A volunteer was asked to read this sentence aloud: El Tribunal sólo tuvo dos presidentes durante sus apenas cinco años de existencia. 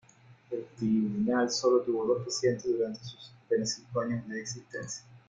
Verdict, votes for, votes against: rejected, 1, 2